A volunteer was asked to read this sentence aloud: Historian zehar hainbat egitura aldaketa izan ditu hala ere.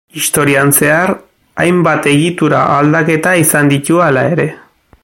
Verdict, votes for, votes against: accepted, 2, 1